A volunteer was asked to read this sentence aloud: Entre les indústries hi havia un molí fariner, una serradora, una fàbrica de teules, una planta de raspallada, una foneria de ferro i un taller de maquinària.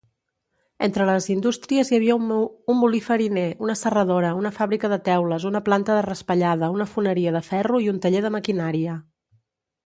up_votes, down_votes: 1, 2